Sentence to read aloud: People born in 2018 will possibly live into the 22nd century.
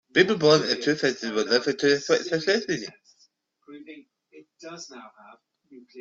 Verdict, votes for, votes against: rejected, 0, 2